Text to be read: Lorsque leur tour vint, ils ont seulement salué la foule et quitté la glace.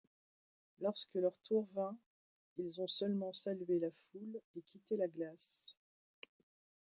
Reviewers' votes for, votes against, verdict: 2, 0, accepted